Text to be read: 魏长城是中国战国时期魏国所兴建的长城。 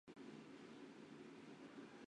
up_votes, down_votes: 1, 3